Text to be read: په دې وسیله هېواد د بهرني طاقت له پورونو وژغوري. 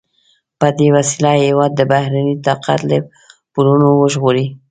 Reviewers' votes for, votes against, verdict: 0, 2, rejected